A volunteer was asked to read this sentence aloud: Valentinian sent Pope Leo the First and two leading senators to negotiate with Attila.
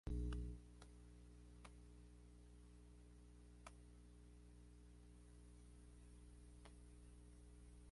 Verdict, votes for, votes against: rejected, 0, 2